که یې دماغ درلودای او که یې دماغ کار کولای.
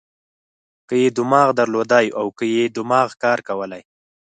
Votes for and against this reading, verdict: 4, 0, accepted